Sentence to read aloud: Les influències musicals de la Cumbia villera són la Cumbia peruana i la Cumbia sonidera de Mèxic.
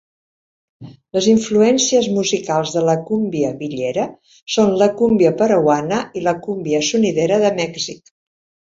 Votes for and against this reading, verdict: 1, 2, rejected